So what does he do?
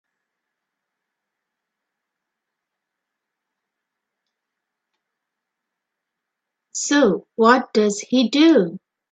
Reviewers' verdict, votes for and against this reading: rejected, 0, 2